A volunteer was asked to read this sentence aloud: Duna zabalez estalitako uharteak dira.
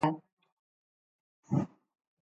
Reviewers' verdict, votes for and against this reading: rejected, 0, 2